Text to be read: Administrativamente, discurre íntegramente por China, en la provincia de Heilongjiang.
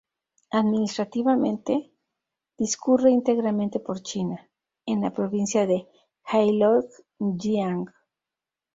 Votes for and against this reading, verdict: 2, 0, accepted